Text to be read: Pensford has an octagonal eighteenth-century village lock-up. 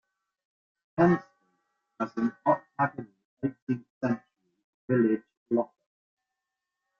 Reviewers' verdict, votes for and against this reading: rejected, 0, 2